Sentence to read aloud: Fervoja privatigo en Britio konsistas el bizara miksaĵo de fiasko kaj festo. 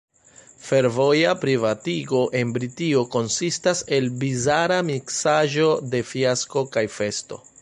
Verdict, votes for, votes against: rejected, 1, 2